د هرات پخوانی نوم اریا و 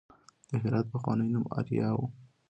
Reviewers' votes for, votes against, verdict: 2, 0, accepted